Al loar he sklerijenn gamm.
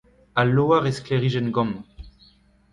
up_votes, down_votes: 2, 0